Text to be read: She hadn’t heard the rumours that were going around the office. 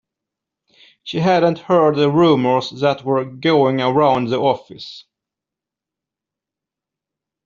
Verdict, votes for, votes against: accepted, 2, 0